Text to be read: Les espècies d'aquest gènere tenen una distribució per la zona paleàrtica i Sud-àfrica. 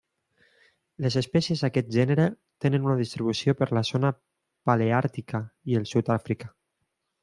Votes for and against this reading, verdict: 2, 0, accepted